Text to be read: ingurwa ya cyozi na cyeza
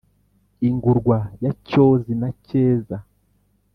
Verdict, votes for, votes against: accepted, 3, 0